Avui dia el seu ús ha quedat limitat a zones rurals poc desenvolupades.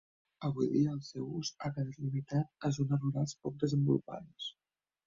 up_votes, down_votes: 0, 2